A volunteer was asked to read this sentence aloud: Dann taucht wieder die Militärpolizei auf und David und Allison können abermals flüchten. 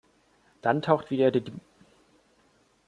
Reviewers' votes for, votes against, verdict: 0, 2, rejected